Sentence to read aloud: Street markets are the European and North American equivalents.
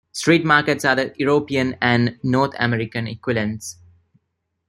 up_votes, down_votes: 2, 1